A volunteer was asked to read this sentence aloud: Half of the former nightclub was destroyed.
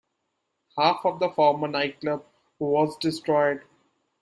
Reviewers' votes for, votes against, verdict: 0, 2, rejected